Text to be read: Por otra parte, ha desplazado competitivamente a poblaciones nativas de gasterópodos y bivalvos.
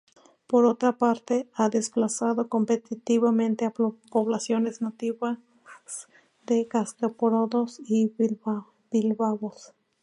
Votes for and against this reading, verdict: 2, 4, rejected